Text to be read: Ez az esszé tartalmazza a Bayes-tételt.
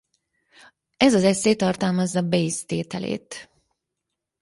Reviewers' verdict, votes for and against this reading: rejected, 0, 4